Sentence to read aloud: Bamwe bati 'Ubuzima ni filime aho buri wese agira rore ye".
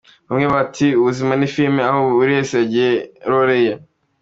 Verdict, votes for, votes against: accepted, 2, 1